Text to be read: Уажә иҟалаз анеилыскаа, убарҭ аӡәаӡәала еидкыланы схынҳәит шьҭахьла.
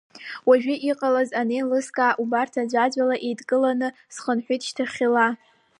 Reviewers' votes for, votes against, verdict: 2, 0, accepted